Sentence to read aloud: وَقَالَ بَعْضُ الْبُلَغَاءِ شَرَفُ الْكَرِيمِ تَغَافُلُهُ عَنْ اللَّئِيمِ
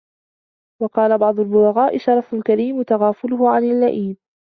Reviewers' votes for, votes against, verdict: 2, 0, accepted